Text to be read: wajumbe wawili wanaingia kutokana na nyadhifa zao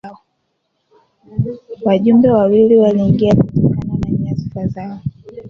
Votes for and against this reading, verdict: 0, 2, rejected